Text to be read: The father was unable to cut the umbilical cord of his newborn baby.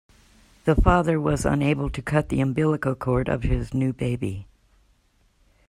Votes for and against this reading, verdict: 0, 2, rejected